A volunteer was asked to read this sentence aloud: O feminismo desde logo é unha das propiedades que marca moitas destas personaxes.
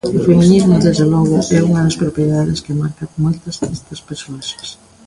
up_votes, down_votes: 0, 2